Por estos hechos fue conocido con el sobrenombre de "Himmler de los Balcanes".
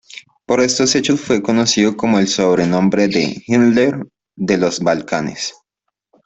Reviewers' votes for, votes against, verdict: 2, 0, accepted